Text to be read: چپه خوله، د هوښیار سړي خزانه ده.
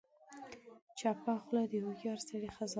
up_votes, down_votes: 1, 2